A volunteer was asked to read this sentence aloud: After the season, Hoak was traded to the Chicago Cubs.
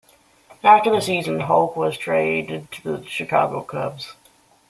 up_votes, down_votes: 2, 0